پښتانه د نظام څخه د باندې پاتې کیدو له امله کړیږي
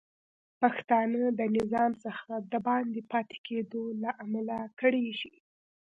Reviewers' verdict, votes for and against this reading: accepted, 2, 0